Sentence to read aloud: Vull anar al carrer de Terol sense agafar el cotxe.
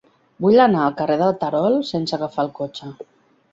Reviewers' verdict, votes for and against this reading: rejected, 2, 3